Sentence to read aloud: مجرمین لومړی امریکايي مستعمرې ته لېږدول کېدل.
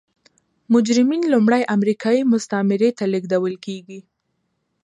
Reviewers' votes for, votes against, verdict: 2, 0, accepted